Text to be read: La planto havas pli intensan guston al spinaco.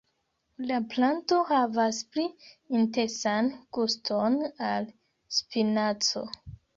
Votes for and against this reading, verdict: 1, 2, rejected